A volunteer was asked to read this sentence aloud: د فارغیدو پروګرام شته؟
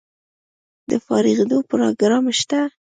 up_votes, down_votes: 2, 1